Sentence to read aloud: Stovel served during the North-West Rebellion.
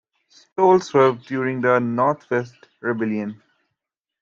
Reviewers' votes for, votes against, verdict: 2, 1, accepted